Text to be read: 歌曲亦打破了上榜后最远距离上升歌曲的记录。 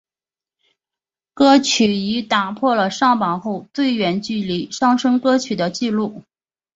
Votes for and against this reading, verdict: 3, 0, accepted